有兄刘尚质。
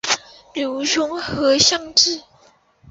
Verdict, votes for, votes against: rejected, 1, 3